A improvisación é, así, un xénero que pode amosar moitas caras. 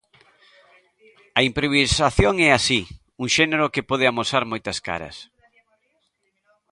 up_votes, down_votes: 2, 1